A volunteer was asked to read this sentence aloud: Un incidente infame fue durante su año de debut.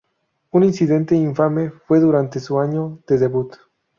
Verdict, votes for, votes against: accepted, 6, 0